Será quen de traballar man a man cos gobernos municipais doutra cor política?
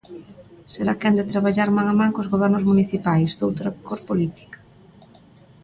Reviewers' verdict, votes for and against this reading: accepted, 2, 0